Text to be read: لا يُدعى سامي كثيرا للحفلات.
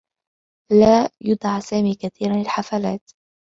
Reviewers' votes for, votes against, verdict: 2, 0, accepted